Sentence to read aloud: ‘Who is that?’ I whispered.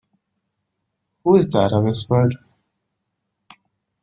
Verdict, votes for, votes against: accepted, 2, 0